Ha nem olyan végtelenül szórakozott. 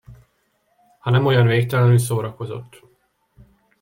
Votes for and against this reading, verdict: 2, 0, accepted